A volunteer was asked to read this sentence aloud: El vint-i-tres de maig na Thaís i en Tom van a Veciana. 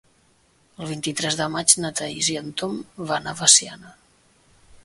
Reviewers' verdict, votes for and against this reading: accepted, 3, 0